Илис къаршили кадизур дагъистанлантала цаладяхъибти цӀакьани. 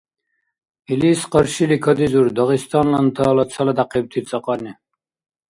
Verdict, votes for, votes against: accepted, 2, 0